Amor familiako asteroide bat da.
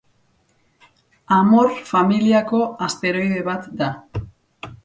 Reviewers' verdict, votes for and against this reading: accepted, 4, 0